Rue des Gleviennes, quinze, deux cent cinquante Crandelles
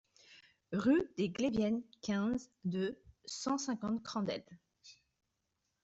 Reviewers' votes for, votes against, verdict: 2, 0, accepted